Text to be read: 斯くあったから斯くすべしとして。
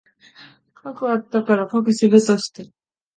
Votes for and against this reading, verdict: 1, 2, rejected